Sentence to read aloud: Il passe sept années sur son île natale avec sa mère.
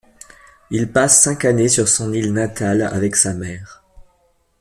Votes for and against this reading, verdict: 1, 2, rejected